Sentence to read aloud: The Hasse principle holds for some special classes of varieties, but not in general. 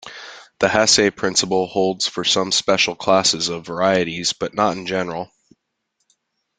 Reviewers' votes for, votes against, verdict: 2, 0, accepted